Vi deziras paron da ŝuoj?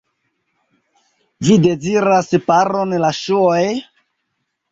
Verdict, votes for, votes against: rejected, 1, 2